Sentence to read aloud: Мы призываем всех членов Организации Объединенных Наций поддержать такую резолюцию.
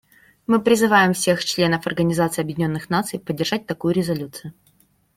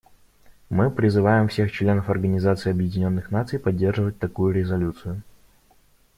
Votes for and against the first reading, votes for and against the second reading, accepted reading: 2, 0, 1, 2, first